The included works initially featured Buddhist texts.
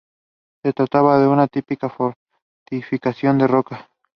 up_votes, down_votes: 0, 2